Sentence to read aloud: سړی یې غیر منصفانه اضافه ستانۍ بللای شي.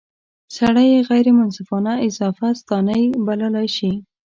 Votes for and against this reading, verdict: 2, 0, accepted